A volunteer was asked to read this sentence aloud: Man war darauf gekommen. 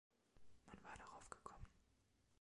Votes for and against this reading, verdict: 1, 2, rejected